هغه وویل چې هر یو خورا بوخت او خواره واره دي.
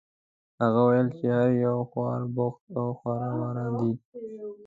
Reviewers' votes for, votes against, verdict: 2, 1, accepted